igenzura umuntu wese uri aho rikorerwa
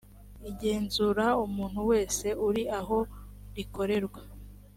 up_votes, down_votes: 3, 0